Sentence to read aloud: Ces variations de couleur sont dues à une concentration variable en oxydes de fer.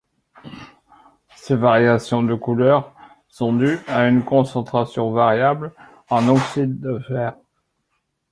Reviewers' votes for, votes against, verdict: 2, 0, accepted